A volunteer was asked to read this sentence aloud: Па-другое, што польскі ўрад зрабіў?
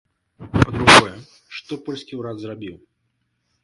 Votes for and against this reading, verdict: 1, 2, rejected